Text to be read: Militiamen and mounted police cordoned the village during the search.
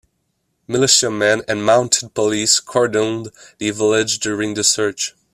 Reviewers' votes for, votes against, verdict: 1, 2, rejected